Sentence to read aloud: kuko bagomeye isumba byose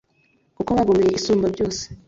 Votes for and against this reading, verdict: 2, 1, accepted